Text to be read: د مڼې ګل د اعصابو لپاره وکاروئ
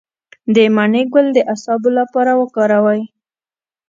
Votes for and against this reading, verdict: 2, 0, accepted